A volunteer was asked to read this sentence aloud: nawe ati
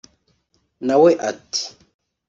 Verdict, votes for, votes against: accepted, 2, 0